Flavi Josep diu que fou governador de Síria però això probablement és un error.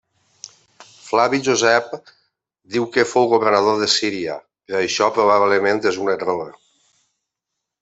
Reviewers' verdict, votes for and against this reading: rejected, 1, 2